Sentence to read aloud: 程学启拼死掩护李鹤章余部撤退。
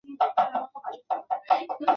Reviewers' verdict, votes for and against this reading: rejected, 1, 3